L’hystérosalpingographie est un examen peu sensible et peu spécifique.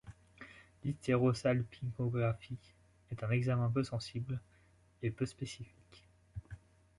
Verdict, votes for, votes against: rejected, 1, 2